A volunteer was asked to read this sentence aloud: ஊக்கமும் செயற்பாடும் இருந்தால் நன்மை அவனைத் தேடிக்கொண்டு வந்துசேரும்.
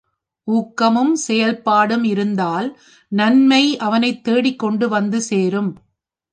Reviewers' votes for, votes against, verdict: 3, 0, accepted